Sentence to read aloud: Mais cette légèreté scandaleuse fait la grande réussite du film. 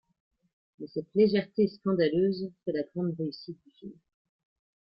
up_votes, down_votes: 1, 2